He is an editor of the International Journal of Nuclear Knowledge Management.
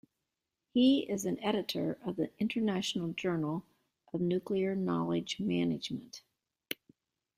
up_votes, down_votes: 2, 0